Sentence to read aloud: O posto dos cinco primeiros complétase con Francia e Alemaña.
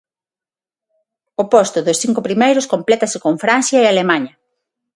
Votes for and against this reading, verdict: 6, 0, accepted